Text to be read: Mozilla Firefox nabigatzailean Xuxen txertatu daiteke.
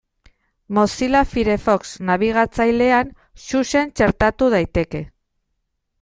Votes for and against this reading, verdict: 2, 0, accepted